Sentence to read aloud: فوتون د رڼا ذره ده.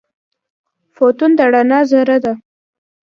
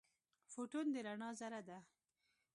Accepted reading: first